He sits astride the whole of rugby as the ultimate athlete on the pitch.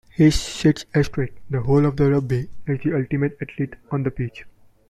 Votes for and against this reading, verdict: 0, 2, rejected